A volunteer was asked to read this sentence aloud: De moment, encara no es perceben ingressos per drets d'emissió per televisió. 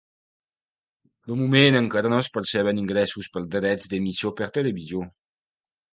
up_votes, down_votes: 2, 0